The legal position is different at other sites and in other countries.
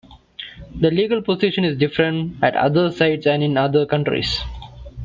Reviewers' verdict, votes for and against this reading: rejected, 1, 2